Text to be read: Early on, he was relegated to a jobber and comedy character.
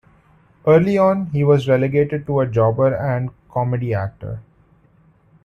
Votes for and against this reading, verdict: 1, 2, rejected